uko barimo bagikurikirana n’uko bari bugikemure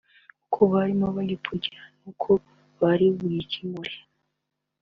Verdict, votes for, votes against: accepted, 2, 0